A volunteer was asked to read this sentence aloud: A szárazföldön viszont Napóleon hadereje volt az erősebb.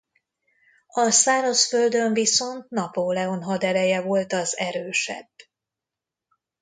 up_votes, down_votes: 2, 0